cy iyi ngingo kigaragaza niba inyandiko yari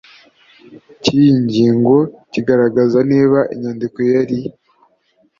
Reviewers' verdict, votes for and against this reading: accepted, 2, 0